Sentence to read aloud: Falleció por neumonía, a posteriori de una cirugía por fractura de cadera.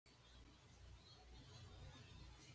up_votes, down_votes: 1, 2